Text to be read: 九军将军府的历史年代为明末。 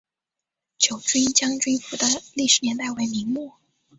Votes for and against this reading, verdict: 3, 1, accepted